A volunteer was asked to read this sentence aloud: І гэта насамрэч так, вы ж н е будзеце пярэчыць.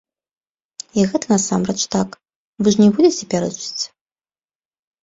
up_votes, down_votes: 2, 0